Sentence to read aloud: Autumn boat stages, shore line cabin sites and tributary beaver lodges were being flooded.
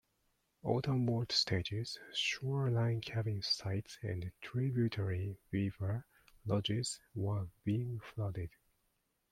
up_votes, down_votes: 2, 1